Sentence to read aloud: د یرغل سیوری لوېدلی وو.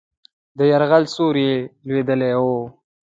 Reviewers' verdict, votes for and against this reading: accepted, 2, 0